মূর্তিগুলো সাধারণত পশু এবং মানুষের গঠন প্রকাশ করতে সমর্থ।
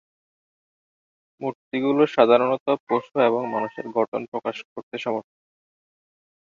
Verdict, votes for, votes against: rejected, 5, 6